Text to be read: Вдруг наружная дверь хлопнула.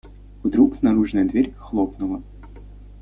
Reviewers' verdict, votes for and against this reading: accepted, 2, 0